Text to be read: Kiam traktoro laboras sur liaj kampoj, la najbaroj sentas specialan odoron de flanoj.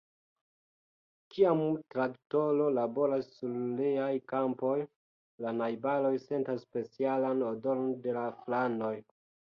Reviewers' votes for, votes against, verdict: 1, 2, rejected